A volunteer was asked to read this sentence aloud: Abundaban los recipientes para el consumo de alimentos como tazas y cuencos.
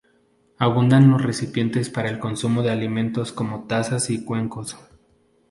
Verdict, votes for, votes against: rejected, 0, 2